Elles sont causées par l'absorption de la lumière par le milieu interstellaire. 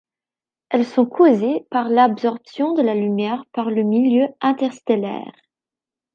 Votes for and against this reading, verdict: 2, 0, accepted